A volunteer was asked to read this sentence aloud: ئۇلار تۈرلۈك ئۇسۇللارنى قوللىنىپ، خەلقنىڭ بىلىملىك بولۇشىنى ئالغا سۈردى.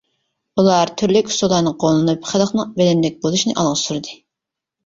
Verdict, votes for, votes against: rejected, 0, 2